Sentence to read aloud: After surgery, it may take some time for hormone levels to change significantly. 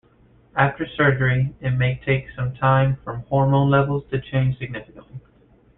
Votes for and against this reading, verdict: 2, 1, accepted